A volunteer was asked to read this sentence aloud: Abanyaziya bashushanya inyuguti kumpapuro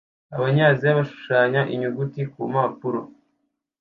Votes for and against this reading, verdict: 2, 0, accepted